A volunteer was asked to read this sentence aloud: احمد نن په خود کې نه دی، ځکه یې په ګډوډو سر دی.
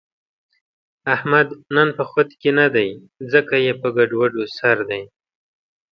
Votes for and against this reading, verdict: 2, 0, accepted